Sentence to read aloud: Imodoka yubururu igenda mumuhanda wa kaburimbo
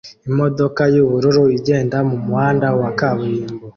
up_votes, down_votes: 2, 0